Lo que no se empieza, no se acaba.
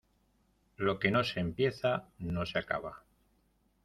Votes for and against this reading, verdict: 2, 0, accepted